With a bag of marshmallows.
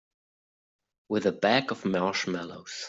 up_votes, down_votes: 2, 1